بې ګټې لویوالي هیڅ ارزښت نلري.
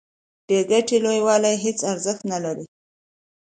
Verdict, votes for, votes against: accepted, 2, 0